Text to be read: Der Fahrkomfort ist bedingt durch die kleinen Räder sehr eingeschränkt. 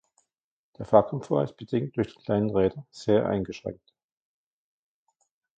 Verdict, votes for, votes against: rejected, 0, 2